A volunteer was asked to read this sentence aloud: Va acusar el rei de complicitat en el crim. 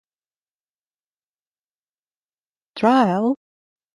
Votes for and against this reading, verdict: 1, 3, rejected